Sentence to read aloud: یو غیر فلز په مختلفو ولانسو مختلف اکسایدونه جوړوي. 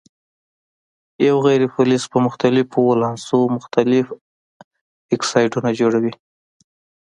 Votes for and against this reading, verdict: 2, 0, accepted